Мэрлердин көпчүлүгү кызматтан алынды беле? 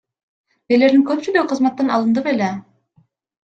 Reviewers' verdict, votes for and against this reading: accepted, 2, 0